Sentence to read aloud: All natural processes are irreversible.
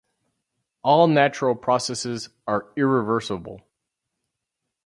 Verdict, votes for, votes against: accepted, 4, 0